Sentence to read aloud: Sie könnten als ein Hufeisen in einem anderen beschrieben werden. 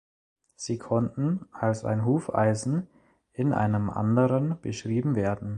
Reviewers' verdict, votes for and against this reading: rejected, 0, 2